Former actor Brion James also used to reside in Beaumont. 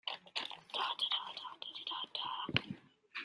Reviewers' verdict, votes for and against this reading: rejected, 0, 2